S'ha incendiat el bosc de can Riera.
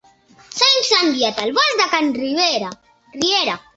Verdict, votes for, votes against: accepted, 2, 0